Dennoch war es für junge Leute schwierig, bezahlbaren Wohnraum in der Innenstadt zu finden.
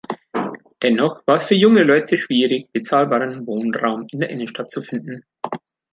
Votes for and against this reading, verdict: 0, 2, rejected